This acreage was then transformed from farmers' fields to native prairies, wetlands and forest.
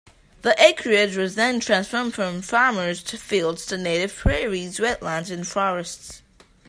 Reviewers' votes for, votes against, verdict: 1, 2, rejected